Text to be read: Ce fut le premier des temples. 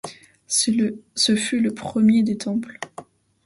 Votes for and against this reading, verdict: 0, 2, rejected